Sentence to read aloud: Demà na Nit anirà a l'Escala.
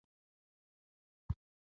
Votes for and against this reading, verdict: 0, 2, rejected